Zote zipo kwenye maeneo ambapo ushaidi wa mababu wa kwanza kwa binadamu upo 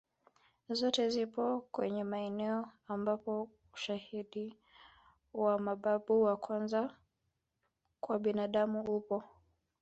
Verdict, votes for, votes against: accepted, 2, 0